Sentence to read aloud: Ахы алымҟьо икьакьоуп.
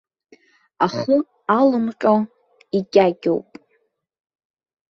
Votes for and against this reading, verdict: 2, 0, accepted